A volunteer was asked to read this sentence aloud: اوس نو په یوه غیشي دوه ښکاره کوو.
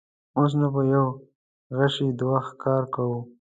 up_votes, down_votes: 2, 1